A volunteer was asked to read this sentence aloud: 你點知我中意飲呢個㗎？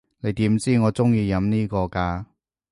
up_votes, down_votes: 2, 0